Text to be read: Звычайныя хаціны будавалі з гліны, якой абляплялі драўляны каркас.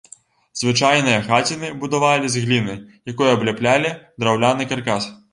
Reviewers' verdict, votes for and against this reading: rejected, 1, 3